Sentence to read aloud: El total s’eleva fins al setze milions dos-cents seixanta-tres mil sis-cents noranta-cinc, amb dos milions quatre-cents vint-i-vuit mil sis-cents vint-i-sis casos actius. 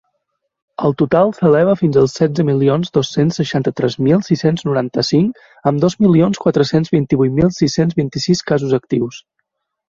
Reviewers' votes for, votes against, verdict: 2, 0, accepted